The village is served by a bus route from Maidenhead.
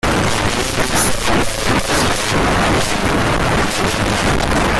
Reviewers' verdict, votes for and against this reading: rejected, 0, 2